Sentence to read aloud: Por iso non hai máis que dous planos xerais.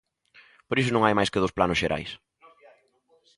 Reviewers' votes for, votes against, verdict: 1, 2, rejected